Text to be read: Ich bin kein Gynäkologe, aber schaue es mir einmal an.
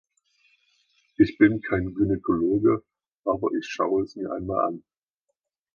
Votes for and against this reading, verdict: 1, 2, rejected